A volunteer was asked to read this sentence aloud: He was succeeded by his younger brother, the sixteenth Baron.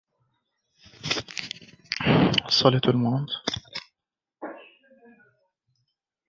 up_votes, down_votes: 0, 2